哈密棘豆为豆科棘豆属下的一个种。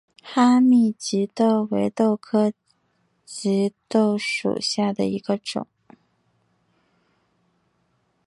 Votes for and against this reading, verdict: 1, 2, rejected